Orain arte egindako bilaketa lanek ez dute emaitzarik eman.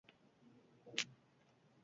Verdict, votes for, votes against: rejected, 2, 4